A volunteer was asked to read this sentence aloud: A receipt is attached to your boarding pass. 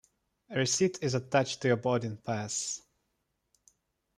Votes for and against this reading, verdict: 0, 2, rejected